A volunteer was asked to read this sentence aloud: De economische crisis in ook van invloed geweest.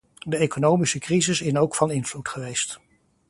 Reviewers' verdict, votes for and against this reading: rejected, 1, 2